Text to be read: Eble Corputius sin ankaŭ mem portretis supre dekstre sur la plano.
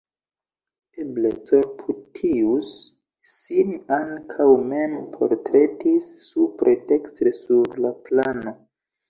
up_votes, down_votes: 2, 0